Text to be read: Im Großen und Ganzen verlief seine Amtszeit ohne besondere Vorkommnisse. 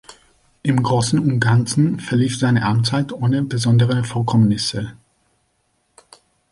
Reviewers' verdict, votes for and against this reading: accepted, 2, 1